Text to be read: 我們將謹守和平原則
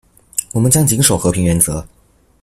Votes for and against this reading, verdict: 2, 0, accepted